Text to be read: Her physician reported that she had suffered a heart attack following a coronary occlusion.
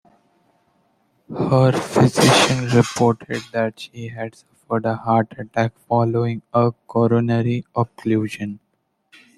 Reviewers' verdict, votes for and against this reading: accepted, 2, 1